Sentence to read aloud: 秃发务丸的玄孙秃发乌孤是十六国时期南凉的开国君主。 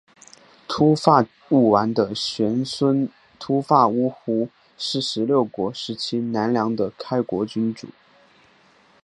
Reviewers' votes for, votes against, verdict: 2, 1, accepted